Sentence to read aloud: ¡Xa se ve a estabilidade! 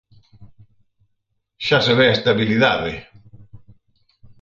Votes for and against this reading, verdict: 4, 0, accepted